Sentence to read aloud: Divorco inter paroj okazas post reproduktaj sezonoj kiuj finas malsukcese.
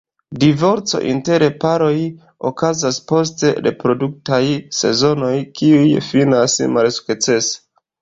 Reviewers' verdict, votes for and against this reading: accepted, 2, 1